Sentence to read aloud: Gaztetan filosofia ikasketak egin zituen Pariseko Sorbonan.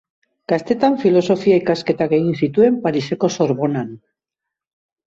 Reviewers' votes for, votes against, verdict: 2, 0, accepted